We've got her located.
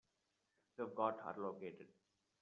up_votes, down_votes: 1, 2